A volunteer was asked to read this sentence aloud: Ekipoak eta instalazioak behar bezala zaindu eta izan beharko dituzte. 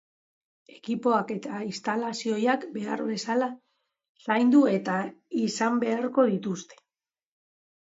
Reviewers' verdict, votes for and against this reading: rejected, 1, 3